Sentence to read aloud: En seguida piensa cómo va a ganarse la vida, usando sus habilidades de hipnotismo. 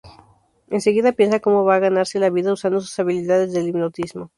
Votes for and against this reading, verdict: 0, 2, rejected